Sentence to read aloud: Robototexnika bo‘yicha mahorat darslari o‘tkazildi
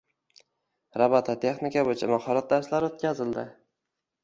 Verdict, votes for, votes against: accepted, 2, 0